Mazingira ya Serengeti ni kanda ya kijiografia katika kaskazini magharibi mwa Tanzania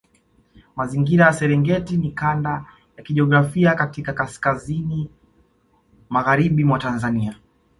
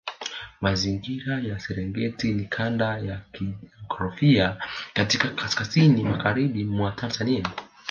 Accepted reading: first